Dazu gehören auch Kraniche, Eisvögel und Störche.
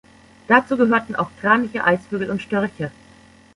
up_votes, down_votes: 0, 2